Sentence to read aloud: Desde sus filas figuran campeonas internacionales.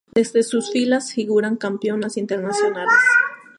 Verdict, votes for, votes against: rejected, 2, 2